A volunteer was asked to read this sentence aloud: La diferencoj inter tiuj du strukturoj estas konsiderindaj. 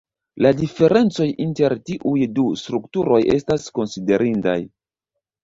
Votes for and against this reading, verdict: 2, 1, accepted